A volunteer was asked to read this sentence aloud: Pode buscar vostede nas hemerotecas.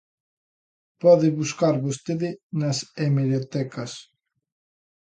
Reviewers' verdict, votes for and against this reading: accepted, 2, 0